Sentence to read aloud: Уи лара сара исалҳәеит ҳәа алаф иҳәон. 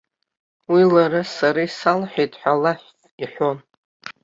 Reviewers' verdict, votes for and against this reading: accepted, 2, 0